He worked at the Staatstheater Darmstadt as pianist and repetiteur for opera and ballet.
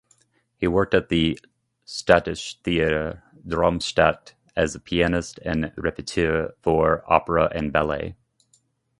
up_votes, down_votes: 2, 0